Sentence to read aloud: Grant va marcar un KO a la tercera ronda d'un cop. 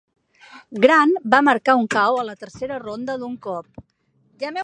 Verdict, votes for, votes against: rejected, 0, 2